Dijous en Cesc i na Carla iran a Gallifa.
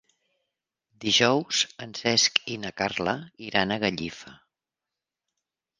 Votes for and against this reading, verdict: 3, 0, accepted